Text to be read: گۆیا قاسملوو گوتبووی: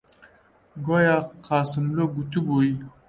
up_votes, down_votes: 0, 2